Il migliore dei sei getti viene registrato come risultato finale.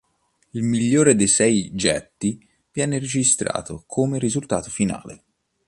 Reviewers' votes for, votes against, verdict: 2, 0, accepted